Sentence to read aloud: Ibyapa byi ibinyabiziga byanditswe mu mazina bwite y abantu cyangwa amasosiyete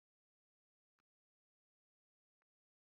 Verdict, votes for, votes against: rejected, 1, 2